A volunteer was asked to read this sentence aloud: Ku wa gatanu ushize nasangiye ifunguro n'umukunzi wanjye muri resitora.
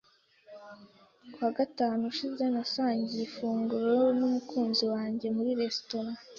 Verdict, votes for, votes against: accepted, 2, 0